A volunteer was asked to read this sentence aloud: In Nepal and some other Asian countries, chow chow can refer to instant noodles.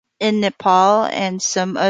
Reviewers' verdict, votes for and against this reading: rejected, 0, 2